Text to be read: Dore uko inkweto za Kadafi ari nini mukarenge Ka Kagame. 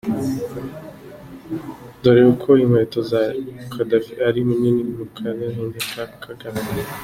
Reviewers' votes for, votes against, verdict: 2, 1, accepted